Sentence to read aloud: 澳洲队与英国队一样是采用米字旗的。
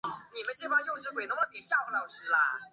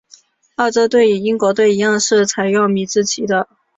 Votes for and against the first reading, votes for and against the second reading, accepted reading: 0, 3, 3, 0, second